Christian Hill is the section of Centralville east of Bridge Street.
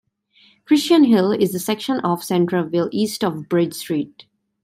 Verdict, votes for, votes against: accepted, 2, 0